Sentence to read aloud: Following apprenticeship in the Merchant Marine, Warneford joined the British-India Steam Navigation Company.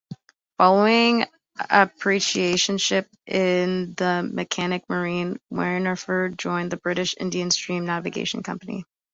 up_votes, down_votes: 0, 2